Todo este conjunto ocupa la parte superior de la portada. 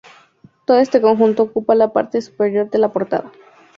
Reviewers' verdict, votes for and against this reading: accepted, 2, 0